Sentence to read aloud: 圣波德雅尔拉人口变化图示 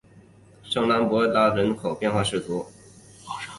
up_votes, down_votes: 3, 4